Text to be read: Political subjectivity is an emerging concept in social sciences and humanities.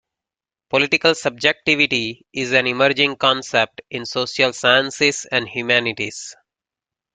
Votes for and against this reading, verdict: 2, 0, accepted